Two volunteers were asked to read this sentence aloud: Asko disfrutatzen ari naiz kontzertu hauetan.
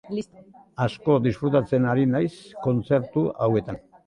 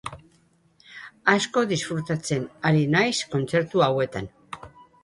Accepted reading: first